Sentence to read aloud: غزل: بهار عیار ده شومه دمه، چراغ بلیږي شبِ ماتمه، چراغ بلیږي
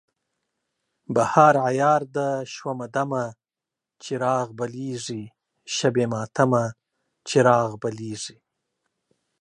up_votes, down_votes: 2, 0